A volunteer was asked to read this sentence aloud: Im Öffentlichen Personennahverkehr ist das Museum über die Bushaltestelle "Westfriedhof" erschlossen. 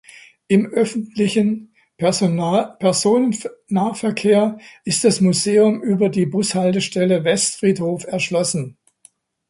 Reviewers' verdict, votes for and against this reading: rejected, 0, 2